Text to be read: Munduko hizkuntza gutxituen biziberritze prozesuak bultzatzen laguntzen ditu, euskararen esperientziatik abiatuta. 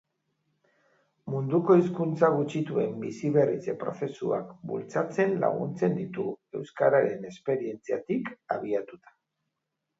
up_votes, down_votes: 3, 0